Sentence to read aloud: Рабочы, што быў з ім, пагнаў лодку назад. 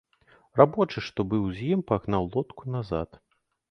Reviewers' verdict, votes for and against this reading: accepted, 2, 0